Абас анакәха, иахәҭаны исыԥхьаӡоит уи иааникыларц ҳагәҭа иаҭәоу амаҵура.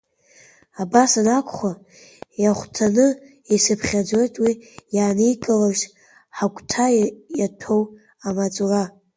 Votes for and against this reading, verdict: 1, 2, rejected